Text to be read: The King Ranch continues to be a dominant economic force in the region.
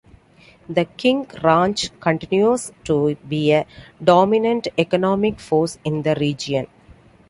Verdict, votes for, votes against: accepted, 2, 0